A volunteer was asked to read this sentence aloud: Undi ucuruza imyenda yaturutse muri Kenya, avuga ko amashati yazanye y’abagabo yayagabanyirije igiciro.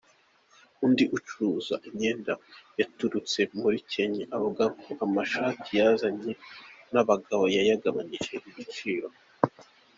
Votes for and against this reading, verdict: 2, 1, accepted